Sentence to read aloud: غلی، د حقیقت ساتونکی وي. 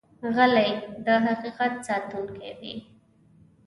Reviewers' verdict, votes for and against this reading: accepted, 2, 1